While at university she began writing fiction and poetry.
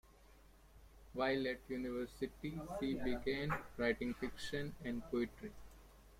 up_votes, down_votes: 2, 0